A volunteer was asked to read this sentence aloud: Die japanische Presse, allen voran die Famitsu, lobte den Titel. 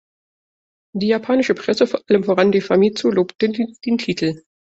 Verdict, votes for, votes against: rejected, 0, 2